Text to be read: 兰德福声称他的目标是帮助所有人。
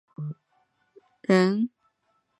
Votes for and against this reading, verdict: 0, 2, rejected